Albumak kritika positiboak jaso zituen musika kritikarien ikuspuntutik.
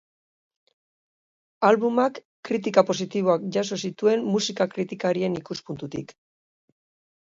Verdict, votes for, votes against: accepted, 4, 0